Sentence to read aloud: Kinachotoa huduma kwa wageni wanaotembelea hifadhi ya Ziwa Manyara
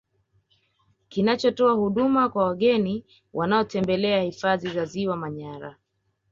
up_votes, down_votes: 2, 0